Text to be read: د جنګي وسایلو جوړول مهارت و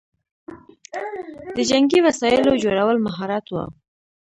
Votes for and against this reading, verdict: 1, 2, rejected